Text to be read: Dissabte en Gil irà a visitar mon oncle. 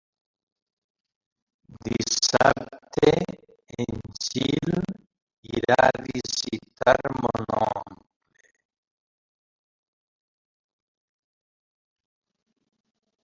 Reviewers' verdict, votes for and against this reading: rejected, 0, 3